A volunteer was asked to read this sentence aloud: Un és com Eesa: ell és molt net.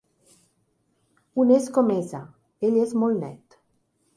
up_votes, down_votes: 4, 0